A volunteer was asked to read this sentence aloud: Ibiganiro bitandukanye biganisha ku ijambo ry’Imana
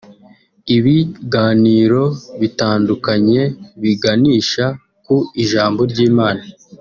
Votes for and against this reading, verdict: 3, 0, accepted